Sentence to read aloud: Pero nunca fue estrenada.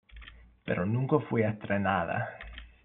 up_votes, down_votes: 1, 2